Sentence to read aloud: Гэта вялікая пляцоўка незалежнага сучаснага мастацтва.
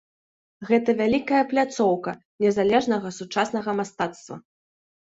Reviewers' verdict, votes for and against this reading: accepted, 2, 0